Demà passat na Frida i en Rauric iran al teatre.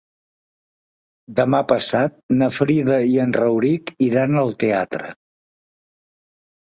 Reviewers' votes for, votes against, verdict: 3, 0, accepted